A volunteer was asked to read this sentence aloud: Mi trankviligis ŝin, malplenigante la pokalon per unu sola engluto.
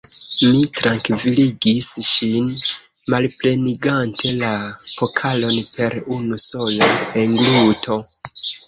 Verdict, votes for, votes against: rejected, 1, 2